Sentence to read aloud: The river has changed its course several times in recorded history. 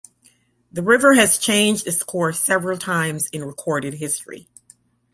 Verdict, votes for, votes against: accepted, 2, 0